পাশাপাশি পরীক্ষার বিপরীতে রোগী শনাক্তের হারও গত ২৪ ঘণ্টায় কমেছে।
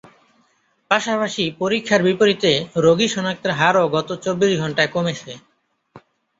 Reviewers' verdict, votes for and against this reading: rejected, 0, 2